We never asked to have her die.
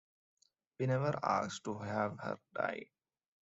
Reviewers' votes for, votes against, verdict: 2, 0, accepted